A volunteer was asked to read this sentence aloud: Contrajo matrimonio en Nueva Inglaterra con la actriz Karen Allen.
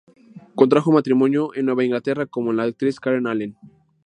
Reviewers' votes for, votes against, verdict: 2, 0, accepted